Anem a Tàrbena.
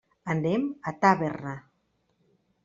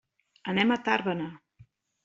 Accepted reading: second